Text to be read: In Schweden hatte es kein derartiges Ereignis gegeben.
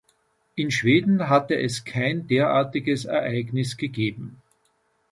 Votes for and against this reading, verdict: 2, 0, accepted